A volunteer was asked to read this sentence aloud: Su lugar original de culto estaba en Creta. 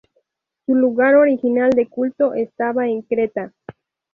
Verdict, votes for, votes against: rejected, 0, 2